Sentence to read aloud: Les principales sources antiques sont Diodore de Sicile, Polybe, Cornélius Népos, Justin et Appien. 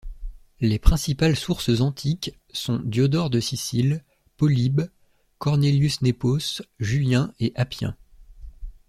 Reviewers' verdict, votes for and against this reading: rejected, 1, 2